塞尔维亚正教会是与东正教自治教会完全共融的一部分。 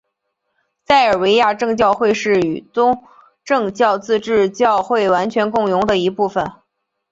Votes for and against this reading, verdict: 2, 0, accepted